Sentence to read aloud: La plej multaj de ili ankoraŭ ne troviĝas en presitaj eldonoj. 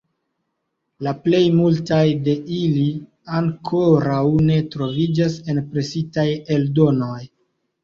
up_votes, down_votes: 1, 2